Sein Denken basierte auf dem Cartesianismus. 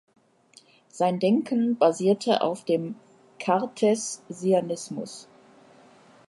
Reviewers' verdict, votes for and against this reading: rejected, 0, 2